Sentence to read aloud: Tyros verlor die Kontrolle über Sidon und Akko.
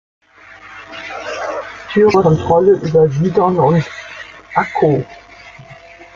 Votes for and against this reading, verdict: 0, 2, rejected